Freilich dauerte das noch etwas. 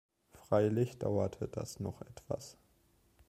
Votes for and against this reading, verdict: 2, 0, accepted